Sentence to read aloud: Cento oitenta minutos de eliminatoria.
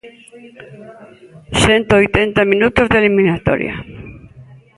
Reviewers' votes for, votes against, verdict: 1, 2, rejected